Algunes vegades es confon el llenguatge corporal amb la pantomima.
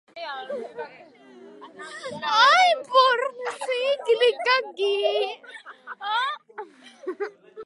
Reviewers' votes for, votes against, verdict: 0, 2, rejected